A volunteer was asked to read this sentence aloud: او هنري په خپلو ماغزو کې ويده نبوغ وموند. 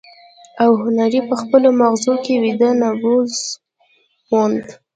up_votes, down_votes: 2, 1